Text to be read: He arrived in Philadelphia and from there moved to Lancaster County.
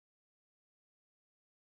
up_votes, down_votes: 0, 2